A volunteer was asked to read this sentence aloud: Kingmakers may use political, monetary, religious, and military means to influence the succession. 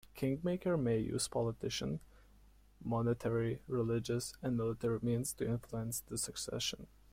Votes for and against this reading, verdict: 1, 2, rejected